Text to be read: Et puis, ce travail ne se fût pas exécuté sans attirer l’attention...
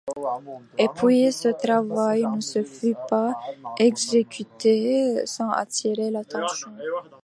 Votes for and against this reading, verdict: 0, 2, rejected